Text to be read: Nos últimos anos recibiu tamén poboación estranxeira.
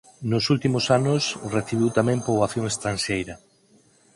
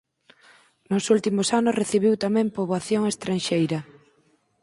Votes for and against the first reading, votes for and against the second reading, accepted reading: 0, 4, 4, 0, second